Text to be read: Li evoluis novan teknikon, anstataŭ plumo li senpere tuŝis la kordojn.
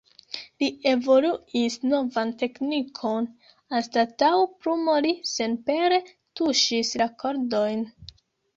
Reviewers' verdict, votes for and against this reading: accepted, 2, 0